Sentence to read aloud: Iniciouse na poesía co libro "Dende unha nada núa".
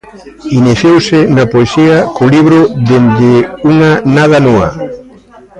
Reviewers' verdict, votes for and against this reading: accepted, 2, 1